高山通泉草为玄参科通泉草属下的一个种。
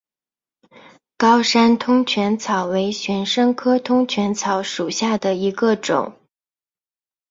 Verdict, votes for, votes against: accepted, 7, 0